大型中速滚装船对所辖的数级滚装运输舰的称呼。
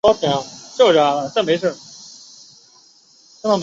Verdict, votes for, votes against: rejected, 0, 2